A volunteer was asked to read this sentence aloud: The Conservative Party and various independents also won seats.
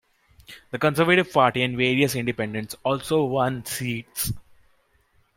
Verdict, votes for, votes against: accepted, 2, 0